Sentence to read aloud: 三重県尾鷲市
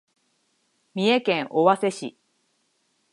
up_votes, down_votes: 6, 0